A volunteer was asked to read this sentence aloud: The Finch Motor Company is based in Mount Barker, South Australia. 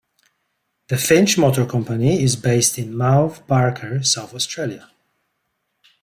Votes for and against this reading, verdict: 2, 0, accepted